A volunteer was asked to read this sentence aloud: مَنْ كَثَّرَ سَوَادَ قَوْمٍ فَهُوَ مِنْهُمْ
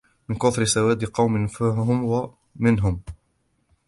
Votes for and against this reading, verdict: 1, 2, rejected